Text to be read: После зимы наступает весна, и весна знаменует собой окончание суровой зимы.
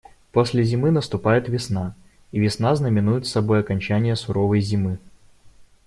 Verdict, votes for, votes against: accepted, 2, 0